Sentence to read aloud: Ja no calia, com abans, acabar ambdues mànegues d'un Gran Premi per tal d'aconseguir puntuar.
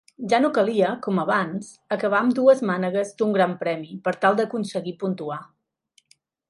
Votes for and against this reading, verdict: 2, 0, accepted